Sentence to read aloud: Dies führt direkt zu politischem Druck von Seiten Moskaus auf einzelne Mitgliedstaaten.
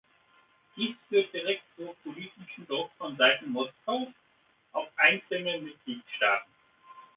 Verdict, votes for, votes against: rejected, 1, 2